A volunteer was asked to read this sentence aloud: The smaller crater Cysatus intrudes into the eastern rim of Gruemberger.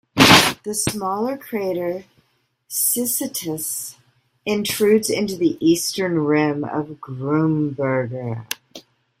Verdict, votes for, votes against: rejected, 0, 2